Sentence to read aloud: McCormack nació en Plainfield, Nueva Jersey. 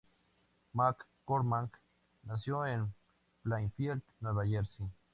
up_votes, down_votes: 2, 0